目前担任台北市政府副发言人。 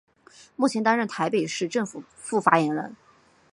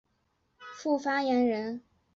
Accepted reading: first